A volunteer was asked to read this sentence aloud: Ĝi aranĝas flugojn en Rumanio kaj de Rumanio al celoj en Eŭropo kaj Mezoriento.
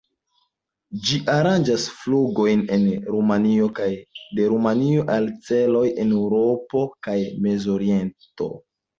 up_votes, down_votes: 2, 0